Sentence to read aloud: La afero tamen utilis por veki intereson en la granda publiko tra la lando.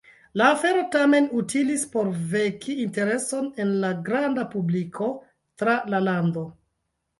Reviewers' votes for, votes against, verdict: 3, 1, accepted